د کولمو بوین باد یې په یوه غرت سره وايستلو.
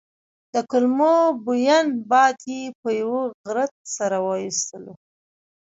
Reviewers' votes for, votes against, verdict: 1, 2, rejected